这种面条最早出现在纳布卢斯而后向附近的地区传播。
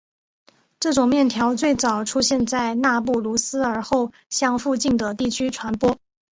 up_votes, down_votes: 6, 0